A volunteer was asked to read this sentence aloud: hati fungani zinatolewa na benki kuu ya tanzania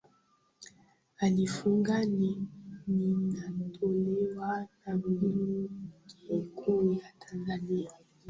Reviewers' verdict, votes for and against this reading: rejected, 0, 2